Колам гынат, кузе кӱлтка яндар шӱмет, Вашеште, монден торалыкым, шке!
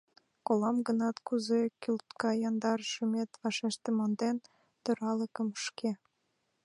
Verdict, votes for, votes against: accepted, 2, 0